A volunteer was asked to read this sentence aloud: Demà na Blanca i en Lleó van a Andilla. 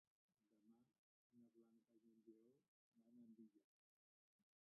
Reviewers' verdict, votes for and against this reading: rejected, 1, 3